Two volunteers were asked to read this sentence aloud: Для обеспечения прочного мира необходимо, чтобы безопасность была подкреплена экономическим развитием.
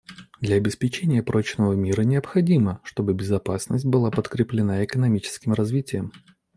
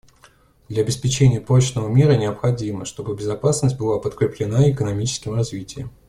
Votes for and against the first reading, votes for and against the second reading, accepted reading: 1, 2, 2, 0, second